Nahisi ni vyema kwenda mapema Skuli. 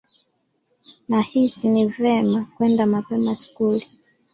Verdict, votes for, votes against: accepted, 2, 1